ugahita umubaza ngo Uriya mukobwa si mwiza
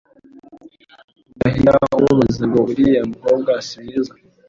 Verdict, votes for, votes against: accepted, 2, 1